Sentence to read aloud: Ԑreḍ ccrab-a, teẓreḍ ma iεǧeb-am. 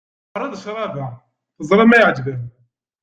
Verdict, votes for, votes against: rejected, 1, 2